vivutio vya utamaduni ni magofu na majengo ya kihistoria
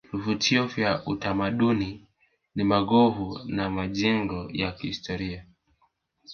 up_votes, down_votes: 1, 2